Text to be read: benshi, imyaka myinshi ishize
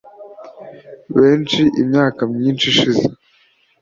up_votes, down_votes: 2, 0